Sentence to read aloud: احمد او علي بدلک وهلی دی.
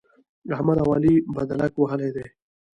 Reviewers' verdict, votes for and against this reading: rejected, 1, 2